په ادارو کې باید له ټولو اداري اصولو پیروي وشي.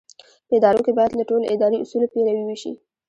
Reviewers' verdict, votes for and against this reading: accepted, 2, 0